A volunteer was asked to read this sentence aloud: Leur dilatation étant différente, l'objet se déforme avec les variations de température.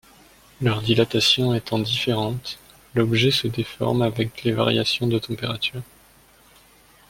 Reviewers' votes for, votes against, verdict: 2, 0, accepted